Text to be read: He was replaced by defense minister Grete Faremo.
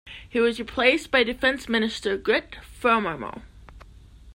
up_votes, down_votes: 1, 2